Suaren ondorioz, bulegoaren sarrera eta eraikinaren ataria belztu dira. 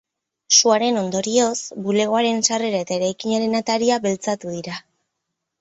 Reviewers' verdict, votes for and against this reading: rejected, 2, 2